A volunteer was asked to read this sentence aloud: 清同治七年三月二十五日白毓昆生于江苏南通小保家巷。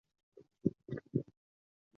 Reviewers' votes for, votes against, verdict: 0, 2, rejected